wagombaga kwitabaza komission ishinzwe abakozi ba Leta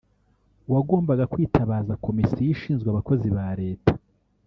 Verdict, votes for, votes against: rejected, 0, 2